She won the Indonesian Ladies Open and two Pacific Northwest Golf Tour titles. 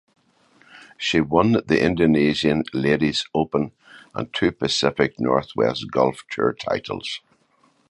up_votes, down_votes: 2, 0